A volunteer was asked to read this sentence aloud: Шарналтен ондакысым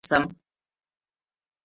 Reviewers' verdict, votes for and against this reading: rejected, 0, 3